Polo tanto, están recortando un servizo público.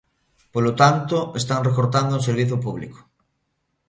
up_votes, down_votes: 2, 0